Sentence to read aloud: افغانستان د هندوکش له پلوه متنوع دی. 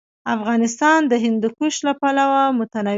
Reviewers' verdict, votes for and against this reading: accepted, 2, 1